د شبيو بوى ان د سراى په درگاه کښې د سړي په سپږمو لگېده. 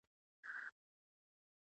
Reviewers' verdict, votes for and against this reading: rejected, 0, 2